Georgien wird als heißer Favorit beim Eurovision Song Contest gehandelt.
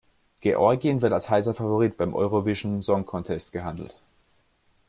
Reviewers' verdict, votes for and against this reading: accepted, 2, 1